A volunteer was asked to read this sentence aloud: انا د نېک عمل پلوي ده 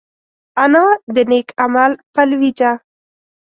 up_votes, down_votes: 1, 2